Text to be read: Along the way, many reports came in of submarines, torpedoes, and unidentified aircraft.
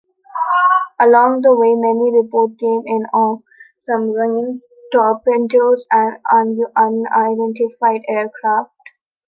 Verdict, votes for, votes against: rejected, 0, 2